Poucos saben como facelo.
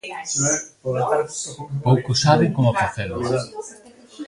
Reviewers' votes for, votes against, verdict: 1, 3, rejected